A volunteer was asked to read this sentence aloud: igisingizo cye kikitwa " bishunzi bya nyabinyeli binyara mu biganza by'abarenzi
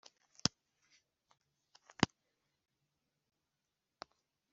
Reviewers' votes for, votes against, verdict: 0, 2, rejected